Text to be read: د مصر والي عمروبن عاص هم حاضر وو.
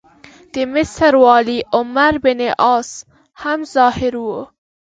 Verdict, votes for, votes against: rejected, 1, 2